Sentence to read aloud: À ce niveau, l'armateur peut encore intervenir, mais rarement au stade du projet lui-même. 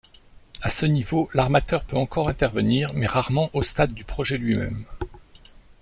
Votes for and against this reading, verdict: 2, 0, accepted